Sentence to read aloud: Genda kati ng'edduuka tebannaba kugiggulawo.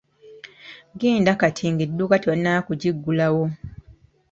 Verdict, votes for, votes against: accepted, 2, 1